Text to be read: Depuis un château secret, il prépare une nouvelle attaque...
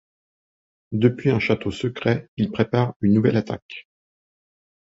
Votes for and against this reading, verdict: 2, 0, accepted